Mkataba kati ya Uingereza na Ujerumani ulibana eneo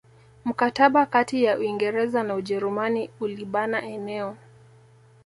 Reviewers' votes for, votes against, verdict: 2, 0, accepted